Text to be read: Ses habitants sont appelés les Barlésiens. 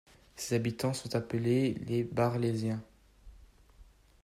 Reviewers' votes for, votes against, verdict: 1, 2, rejected